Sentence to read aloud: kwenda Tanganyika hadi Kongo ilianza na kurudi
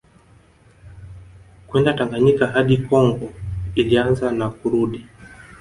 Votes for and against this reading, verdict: 2, 1, accepted